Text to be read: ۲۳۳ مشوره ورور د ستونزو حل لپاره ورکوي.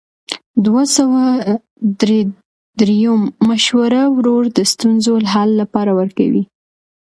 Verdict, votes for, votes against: rejected, 0, 2